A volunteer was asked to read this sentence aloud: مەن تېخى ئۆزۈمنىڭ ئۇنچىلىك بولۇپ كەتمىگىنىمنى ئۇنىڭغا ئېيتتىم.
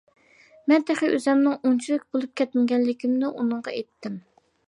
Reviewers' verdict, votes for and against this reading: rejected, 0, 2